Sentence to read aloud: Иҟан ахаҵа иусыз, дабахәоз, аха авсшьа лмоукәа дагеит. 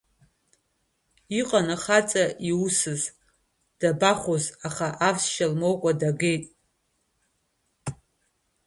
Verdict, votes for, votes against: accepted, 2, 1